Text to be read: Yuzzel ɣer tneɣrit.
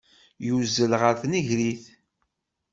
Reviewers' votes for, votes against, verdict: 1, 2, rejected